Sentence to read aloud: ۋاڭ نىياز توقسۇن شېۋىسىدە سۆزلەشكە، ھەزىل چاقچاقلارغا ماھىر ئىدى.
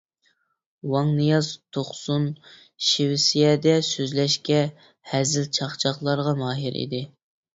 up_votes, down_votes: 0, 2